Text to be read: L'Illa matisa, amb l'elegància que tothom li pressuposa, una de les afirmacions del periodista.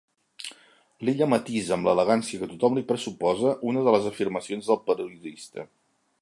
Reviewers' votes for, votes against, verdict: 1, 2, rejected